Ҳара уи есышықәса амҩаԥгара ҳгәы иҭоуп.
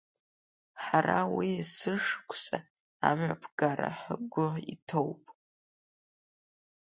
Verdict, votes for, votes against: accepted, 3, 0